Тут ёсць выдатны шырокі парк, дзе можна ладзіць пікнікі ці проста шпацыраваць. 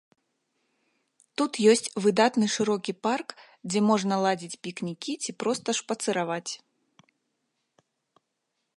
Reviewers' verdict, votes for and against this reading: accepted, 2, 0